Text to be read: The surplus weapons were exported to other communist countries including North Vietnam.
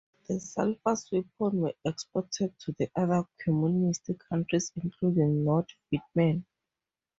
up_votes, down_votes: 0, 2